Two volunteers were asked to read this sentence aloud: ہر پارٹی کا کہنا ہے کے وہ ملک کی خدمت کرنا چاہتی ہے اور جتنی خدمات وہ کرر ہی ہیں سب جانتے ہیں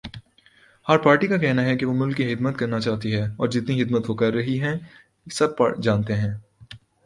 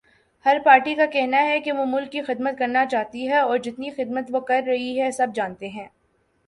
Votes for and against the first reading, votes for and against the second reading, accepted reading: 3, 0, 1, 2, first